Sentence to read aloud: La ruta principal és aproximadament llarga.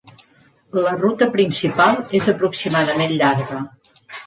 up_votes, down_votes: 3, 0